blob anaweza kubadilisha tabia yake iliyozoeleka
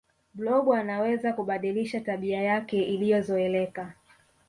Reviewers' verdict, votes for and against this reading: accepted, 2, 0